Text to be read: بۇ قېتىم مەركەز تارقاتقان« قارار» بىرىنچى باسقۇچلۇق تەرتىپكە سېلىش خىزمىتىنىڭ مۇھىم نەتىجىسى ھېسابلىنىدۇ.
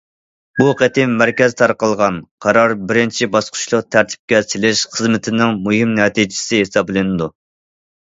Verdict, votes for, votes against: rejected, 0, 2